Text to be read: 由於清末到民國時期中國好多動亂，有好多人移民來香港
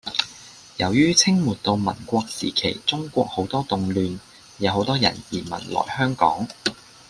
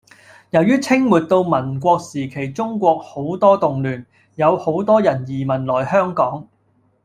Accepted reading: first